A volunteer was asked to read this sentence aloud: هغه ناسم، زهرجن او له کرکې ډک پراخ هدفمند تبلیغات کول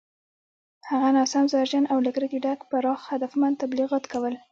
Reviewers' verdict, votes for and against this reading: accepted, 2, 0